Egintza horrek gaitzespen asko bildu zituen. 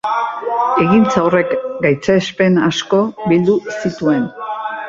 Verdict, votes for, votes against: rejected, 0, 2